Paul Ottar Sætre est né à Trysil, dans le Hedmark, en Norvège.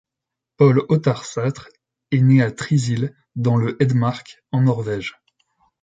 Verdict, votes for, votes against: accepted, 2, 0